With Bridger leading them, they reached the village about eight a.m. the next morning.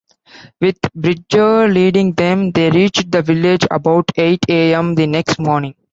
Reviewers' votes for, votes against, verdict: 2, 1, accepted